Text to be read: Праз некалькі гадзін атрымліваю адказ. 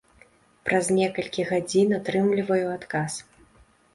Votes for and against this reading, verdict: 2, 0, accepted